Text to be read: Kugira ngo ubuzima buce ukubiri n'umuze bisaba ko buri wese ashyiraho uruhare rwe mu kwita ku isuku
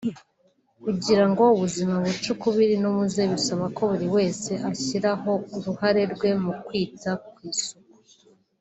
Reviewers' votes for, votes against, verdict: 2, 0, accepted